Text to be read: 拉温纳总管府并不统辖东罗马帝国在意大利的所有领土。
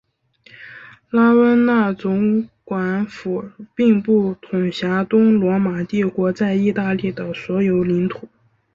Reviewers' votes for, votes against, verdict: 2, 0, accepted